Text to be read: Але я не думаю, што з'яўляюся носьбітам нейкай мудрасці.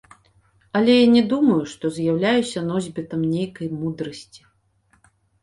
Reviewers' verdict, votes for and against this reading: accepted, 2, 0